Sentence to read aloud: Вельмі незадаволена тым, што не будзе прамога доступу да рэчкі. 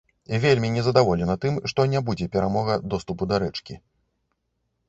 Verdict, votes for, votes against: rejected, 1, 2